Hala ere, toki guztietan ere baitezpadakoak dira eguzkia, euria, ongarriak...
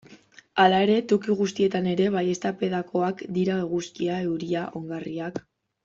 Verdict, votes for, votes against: rejected, 1, 2